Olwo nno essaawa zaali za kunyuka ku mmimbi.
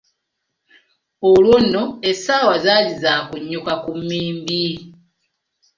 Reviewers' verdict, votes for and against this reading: accepted, 2, 0